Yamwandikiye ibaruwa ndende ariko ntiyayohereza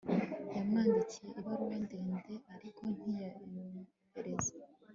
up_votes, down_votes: 2, 0